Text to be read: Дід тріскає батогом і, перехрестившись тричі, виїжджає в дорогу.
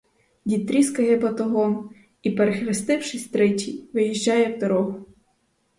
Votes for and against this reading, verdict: 4, 0, accepted